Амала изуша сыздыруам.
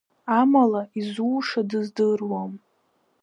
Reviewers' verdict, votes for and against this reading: rejected, 0, 2